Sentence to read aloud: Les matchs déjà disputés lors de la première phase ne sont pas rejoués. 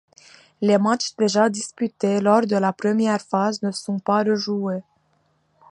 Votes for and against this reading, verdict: 2, 0, accepted